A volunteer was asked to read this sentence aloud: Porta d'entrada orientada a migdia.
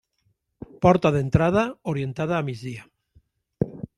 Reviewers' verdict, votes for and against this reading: accepted, 3, 0